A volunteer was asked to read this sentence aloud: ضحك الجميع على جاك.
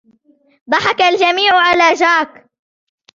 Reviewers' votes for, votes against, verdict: 2, 0, accepted